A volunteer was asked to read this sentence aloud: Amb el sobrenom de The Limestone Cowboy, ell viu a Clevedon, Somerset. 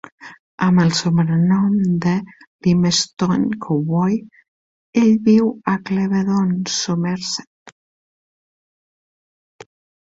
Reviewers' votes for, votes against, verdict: 0, 2, rejected